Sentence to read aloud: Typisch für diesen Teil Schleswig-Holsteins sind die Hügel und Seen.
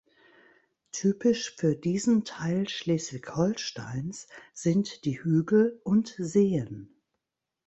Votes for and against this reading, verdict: 2, 1, accepted